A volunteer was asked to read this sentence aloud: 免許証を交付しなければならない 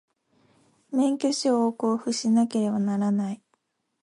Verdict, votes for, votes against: accepted, 2, 0